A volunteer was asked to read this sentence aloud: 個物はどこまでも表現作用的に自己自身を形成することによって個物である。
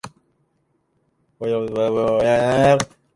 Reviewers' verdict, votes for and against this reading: rejected, 0, 2